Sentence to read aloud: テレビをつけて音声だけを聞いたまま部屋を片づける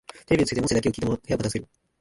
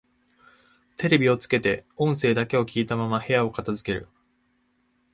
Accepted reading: second